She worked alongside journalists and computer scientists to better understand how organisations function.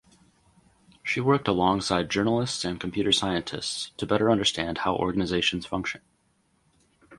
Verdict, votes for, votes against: rejected, 2, 2